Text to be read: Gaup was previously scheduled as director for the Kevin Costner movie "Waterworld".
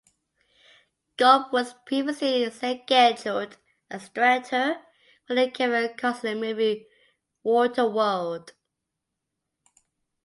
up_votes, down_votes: 2, 0